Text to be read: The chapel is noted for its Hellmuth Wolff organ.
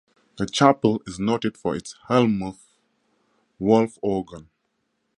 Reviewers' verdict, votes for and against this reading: accepted, 4, 0